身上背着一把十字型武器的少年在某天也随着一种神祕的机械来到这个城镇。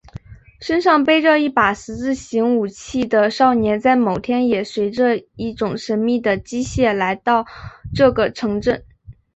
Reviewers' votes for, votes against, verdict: 2, 0, accepted